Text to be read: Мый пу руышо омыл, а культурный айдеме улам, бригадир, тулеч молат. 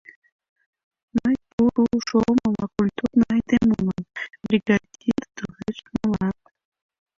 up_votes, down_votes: 1, 2